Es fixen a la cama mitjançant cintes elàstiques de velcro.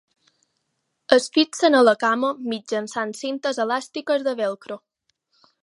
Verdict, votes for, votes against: accepted, 4, 0